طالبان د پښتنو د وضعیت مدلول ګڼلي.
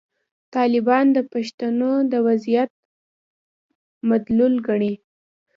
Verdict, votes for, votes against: accepted, 2, 1